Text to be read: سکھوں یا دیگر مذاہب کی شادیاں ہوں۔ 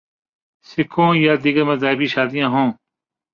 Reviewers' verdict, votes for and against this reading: rejected, 2, 2